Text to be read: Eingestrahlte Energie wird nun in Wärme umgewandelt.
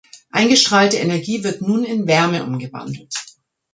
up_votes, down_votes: 2, 0